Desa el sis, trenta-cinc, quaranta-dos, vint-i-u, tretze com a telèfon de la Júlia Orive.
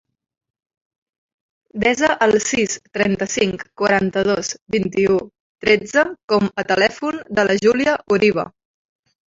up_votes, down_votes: 1, 2